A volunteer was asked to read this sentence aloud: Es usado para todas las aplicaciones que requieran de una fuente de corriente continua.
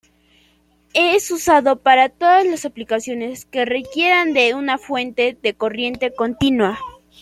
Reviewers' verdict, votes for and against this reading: accepted, 2, 0